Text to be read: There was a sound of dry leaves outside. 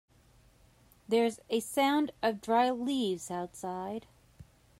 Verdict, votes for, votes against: rejected, 0, 2